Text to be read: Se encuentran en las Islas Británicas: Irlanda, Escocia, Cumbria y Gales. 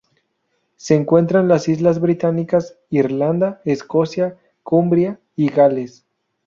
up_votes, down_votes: 0, 2